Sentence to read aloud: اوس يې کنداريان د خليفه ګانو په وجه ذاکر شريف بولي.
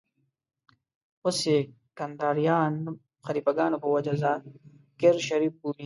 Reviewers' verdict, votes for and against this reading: rejected, 1, 2